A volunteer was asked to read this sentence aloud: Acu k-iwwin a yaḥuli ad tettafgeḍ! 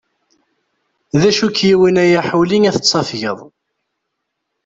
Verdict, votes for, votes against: accepted, 2, 0